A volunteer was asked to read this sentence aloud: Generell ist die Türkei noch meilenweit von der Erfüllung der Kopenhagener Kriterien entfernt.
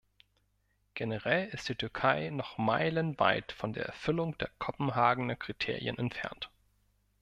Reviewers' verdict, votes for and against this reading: accepted, 2, 0